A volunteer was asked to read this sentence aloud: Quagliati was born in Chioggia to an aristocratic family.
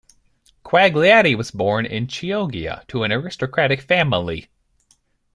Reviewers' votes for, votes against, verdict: 2, 0, accepted